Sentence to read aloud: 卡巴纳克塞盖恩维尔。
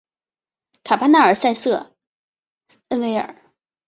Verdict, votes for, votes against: rejected, 0, 2